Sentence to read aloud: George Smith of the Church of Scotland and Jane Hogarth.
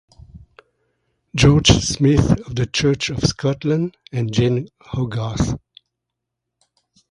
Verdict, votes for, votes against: accepted, 2, 0